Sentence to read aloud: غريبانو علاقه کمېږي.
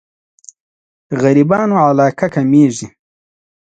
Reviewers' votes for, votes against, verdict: 2, 0, accepted